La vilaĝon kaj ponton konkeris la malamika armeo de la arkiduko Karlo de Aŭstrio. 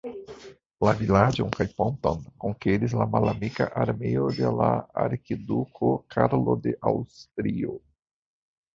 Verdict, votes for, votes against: rejected, 0, 2